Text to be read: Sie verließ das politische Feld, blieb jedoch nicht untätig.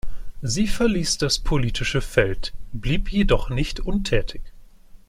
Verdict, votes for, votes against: accepted, 2, 0